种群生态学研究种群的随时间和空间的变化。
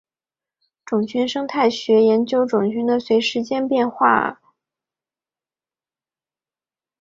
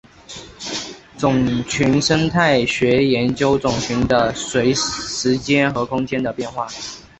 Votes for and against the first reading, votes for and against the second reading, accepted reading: 1, 2, 2, 0, second